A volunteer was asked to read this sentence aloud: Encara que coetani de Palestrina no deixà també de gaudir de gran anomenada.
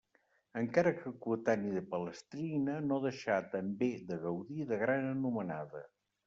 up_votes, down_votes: 2, 0